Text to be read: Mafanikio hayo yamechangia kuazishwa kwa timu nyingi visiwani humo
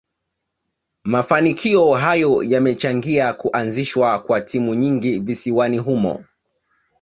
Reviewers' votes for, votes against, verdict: 2, 0, accepted